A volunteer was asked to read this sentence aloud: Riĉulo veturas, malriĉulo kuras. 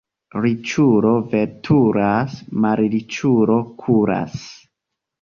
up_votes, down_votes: 2, 0